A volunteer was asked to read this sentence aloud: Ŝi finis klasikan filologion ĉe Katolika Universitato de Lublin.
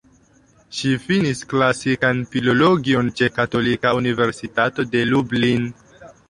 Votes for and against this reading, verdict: 1, 3, rejected